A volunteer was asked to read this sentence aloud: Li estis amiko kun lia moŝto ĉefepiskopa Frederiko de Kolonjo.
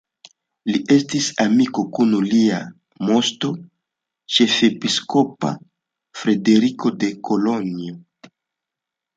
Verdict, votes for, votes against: accepted, 2, 0